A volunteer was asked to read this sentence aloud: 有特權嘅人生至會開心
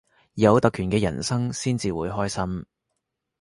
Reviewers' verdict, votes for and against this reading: rejected, 0, 2